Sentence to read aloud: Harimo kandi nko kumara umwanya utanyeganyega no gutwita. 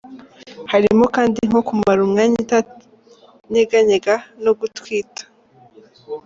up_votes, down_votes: 0, 2